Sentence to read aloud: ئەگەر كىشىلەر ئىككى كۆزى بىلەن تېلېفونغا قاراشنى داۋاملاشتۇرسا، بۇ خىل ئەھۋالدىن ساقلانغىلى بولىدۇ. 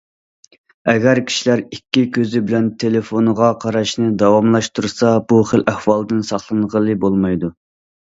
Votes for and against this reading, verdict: 0, 2, rejected